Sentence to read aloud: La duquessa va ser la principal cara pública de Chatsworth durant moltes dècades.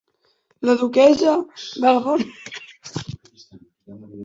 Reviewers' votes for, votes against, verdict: 0, 2, rejected